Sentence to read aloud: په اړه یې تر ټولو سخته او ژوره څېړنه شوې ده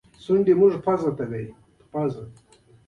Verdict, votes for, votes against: accepted, 2, 1